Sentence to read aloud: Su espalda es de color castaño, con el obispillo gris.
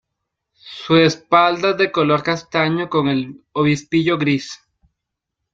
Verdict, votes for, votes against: rejected, 1, 2